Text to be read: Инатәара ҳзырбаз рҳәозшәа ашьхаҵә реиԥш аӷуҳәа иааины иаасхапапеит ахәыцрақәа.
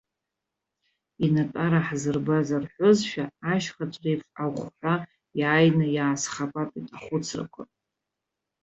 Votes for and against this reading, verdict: 0, 2, rejected